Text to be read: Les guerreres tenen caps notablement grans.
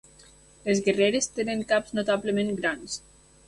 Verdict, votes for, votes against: accepted, 2, 0